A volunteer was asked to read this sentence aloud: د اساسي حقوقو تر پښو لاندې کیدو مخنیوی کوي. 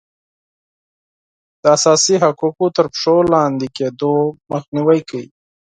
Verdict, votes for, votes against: accepted, 4, 0